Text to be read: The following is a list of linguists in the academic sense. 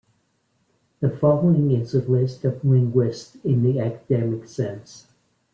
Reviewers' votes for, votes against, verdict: 0, 2, rejected